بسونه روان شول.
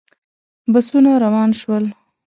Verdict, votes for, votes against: accepted, 2, 0